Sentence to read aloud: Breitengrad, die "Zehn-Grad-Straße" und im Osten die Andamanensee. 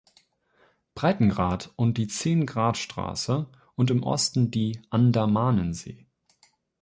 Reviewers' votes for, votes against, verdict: 0, 2, rejected